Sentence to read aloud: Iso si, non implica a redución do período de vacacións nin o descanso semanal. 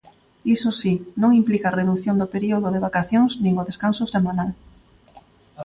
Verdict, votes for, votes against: accepted, 2, 0